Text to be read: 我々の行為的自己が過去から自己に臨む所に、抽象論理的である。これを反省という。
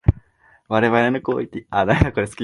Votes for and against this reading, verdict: 0, 2, rejected